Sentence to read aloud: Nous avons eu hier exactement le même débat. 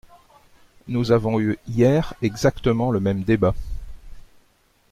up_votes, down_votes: 2, 0